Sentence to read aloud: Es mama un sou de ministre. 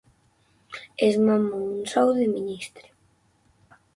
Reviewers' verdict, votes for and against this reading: rejected, 0, 6